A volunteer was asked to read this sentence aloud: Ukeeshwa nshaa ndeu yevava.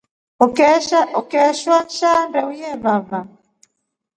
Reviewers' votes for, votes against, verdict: 3, 0, accepted